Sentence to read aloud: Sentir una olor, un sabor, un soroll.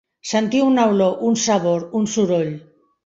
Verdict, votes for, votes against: accepted, 2, 0